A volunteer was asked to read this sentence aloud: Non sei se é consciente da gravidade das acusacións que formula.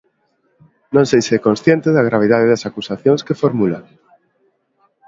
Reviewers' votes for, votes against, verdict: 2, 0, accepted